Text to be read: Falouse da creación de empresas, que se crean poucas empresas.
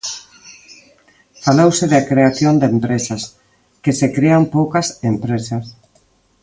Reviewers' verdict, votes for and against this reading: accepted, 2, 0